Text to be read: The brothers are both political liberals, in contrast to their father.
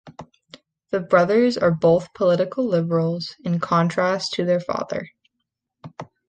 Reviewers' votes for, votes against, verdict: 2, 0, accepted